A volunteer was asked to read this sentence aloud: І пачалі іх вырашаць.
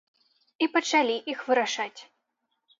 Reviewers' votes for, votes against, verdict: 2, 0, accepted